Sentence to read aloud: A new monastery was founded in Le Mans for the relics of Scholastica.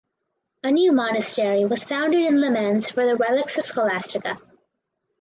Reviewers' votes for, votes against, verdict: 2, 0, accepted